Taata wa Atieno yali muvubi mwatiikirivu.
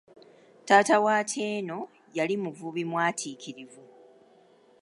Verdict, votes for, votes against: accepted, 2, 0